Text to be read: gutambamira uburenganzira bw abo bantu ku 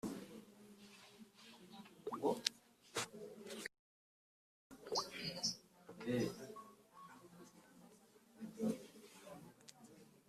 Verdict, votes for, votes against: rejected, 0, 3